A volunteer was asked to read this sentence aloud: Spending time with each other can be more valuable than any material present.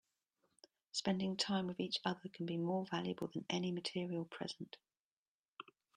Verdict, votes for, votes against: accepted, 2, 0